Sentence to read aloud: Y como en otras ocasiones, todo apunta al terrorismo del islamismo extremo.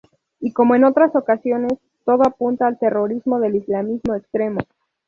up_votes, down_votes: 0, 2